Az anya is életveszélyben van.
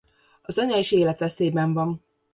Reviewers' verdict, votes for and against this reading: accepted, 2, 0